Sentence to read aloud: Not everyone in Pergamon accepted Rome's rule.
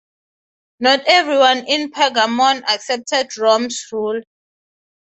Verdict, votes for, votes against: accepted, 6, 0